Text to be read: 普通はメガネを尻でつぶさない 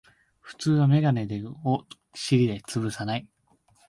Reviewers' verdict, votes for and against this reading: rejected, 1, 2